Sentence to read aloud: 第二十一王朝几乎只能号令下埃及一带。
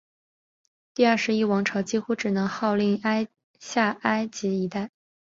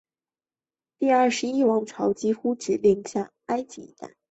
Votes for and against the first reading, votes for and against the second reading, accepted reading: 1, 2, 3, 0, second